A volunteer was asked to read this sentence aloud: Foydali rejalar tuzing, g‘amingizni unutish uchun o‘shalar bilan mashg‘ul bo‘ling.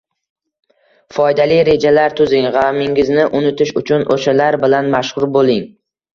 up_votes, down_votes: 2, 0